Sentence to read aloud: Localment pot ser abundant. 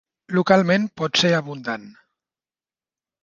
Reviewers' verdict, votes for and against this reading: accepted, 4, 0